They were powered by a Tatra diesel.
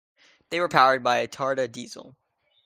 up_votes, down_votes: 1, 2